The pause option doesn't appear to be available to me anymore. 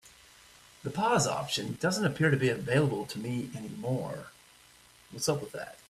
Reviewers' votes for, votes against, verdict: 0, 2, rejected